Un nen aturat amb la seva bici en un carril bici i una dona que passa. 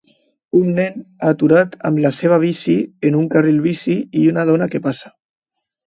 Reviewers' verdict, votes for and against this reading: accepted, 2, 0